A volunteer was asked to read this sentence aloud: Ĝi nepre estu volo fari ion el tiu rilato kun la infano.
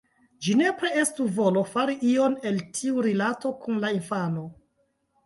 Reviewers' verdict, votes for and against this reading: accepted, 2, 1